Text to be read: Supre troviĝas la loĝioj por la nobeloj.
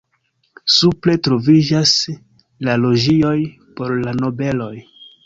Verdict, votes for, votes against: accepted, 2, 0